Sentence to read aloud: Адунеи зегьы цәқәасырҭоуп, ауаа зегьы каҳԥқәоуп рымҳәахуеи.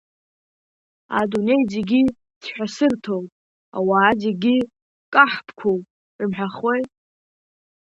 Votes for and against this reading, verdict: 3, 0, accepted